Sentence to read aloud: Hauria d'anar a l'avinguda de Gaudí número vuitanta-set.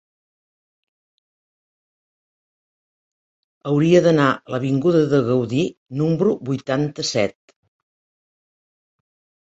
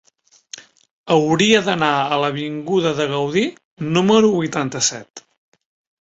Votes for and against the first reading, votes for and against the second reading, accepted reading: 0, 2, 3, 0, second